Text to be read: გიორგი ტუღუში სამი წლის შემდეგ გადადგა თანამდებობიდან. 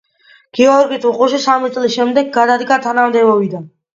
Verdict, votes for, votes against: accepted, 2, 1